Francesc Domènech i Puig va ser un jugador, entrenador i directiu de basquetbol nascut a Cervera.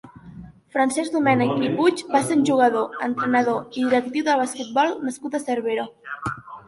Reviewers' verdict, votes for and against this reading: accepted, 2, 1